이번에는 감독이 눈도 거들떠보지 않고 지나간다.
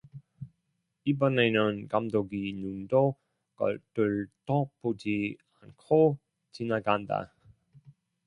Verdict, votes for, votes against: rejected, 0, 2